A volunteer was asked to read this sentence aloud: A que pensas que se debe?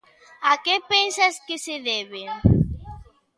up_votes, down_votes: 1, 2